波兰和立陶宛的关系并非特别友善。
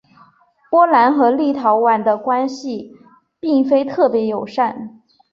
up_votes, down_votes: 2, 0